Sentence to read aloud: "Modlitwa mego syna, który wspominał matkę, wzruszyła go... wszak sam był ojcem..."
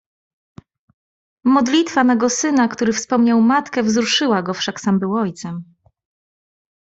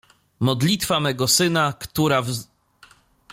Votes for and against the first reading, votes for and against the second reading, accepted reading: 2, 1, 0, 2, first